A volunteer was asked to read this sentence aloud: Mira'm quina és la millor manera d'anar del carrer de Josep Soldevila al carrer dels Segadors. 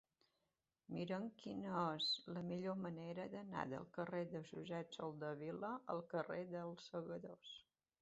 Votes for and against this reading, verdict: 2, 0, accepted